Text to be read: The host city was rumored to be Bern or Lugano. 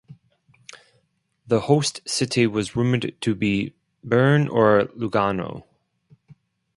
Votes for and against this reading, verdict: 2, 2, rejected